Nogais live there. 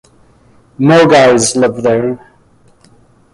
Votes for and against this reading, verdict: 0, 2, rejected